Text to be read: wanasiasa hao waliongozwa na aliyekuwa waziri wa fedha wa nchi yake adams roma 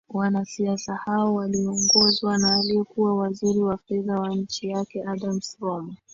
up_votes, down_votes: 10, 0